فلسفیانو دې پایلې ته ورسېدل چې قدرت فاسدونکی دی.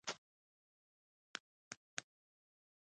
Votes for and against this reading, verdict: 0, 2, rejected